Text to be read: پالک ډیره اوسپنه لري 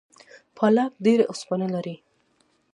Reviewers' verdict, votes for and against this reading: accepted, 2, 0